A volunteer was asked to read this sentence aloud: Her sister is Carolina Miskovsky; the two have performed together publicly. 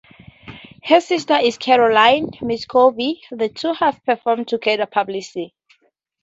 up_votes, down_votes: 4, 0